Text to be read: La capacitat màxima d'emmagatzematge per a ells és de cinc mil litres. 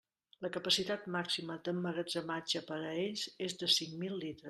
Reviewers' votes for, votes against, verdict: 0, 2, rejected